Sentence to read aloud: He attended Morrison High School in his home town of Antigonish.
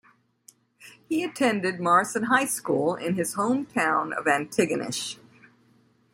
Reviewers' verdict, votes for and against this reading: accepted, 2, 0